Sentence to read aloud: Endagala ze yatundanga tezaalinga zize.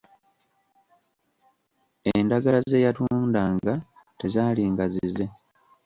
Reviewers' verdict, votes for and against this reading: rejected, 1, 2